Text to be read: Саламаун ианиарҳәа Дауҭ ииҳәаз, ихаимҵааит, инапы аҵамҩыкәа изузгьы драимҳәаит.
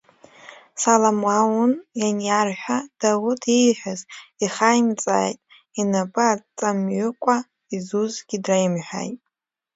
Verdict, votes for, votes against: rejected, 0, 2